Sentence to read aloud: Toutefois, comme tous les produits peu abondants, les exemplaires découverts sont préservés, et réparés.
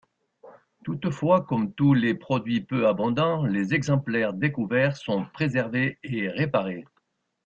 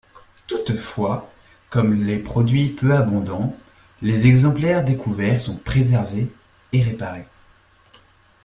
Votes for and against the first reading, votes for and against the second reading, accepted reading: 2, 0, 0, 2, first